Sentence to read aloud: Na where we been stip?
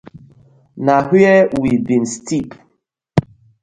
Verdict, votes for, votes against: rejected, 1, 2